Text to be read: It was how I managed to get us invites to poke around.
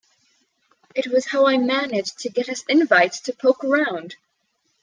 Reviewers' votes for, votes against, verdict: 2, 0, accepted